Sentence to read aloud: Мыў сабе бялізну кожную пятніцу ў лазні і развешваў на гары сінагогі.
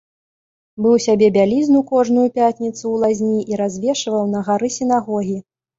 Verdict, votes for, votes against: rejected, 0, 2